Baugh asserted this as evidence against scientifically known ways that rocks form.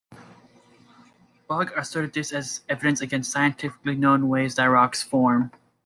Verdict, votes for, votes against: accepted, 3, 2